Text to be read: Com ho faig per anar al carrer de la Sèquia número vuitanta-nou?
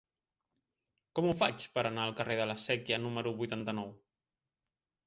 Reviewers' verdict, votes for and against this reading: accepted, 4, 0